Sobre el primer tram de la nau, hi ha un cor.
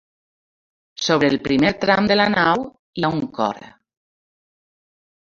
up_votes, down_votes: 2, 0